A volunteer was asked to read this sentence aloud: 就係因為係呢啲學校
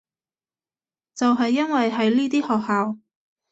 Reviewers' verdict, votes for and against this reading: accepted, 2, 0